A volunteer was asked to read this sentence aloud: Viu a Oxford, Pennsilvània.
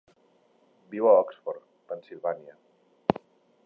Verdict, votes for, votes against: accepted, 3, 0